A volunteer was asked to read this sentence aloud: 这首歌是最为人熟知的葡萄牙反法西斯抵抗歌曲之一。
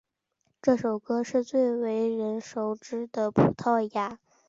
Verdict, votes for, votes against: rejected, 1, 2